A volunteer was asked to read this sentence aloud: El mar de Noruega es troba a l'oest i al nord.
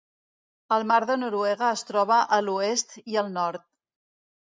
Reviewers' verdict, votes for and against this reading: accepted, 2, 0